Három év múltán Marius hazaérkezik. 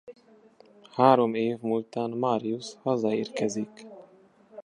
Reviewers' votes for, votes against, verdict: 0, 2, rejected